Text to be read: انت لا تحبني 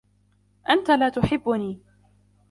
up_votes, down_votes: 1, 2